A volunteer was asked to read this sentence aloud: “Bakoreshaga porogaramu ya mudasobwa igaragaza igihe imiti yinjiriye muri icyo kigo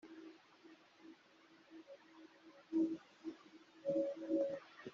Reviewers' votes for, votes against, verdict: 0, 2, rejected